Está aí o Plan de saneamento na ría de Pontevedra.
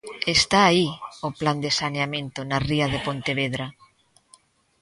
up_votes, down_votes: 1, 2